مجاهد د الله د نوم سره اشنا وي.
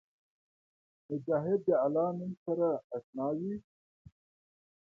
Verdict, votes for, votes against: accepted, 2, 0